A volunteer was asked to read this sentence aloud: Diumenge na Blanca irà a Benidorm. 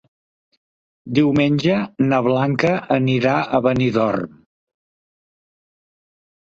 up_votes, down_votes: 1, 2